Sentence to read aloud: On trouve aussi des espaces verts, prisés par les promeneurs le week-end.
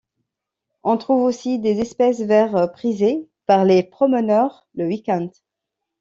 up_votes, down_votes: 2, 0